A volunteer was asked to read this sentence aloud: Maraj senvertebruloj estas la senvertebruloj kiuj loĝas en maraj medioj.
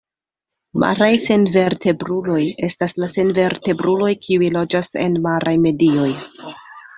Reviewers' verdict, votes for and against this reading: accepted, 2, 0